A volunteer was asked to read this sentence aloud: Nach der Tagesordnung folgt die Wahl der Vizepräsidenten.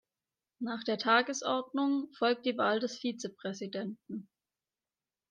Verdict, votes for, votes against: rejected, 0, 2